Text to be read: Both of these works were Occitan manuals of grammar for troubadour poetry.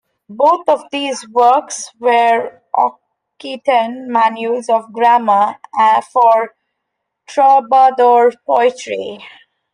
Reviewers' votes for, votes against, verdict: 0, 2, rejected